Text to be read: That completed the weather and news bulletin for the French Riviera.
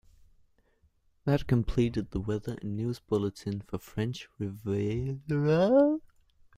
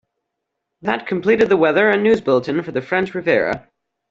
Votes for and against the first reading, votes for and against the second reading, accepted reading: 0, 2, 2, 0, second